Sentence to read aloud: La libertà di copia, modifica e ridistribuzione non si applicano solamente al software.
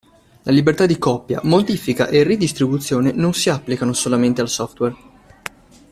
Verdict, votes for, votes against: accepted, 2, 0